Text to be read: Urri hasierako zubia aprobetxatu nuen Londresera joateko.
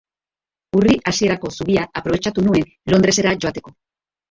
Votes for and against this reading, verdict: 2, 1, accepted